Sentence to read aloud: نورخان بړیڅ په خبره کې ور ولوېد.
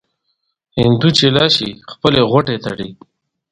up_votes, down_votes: 0, 2